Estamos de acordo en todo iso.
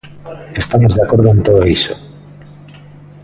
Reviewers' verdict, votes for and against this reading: rejected, 1, 2